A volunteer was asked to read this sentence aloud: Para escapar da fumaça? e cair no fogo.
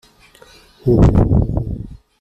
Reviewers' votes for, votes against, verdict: 0, 2, rejected